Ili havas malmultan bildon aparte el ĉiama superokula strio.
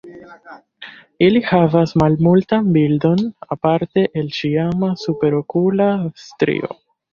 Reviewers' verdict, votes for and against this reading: rejected, 0, 2